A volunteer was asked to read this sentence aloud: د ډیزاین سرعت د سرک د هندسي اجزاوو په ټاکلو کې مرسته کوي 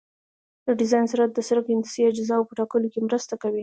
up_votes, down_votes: 1, 2